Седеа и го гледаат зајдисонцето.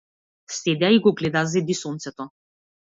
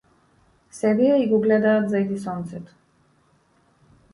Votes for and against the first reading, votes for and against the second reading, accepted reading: 0, 2, 2, 0, second